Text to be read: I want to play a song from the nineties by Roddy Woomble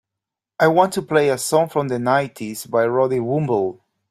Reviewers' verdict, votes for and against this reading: accepted, 2, 0